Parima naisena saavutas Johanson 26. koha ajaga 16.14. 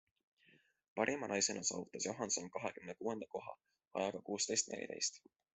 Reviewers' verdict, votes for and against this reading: rejected, 0, 2